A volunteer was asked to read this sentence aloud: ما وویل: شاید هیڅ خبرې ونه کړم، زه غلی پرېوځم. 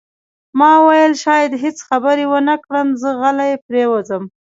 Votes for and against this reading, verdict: 2, 0, accepted